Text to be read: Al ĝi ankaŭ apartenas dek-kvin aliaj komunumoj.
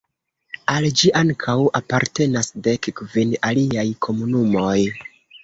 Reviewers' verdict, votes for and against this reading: rejected, 1, 2